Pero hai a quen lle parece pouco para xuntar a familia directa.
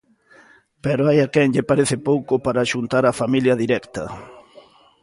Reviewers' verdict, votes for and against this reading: accepted, 2, 0